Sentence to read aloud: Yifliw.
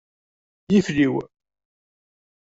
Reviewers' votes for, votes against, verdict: 2, 0, accepted